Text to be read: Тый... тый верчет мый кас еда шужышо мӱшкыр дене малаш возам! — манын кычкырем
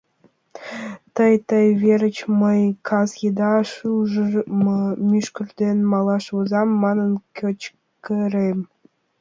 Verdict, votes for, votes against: rejected, 0, 2